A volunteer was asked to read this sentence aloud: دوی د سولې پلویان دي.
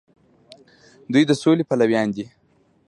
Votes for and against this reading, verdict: 2, 1, accepted